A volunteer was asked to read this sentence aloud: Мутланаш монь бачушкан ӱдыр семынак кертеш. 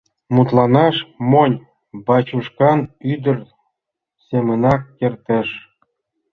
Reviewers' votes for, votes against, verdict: 2, 0, accepted